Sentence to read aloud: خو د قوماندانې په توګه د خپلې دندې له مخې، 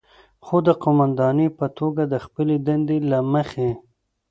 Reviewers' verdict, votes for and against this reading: accepted, 2, 0